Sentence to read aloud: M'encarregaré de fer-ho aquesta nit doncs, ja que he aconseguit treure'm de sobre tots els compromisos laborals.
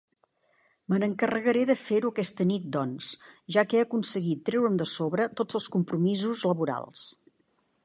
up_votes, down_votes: 1, 2